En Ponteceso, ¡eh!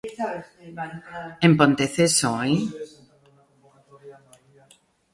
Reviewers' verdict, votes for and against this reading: accepted, 2, 0